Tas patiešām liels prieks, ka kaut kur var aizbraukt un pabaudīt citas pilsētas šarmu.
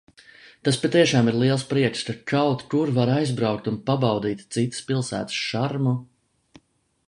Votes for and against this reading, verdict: 1, 2, rejected